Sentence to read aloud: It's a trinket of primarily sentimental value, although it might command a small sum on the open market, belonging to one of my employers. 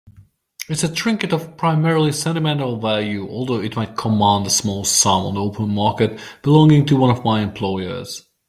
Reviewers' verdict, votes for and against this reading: accepted, 2, 1